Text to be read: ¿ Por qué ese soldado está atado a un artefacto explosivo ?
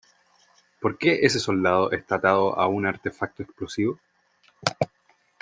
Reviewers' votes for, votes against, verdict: 3, 0, accepted